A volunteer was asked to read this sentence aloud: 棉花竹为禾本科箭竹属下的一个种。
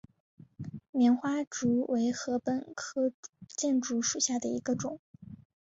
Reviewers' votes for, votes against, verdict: 3, 0, accepted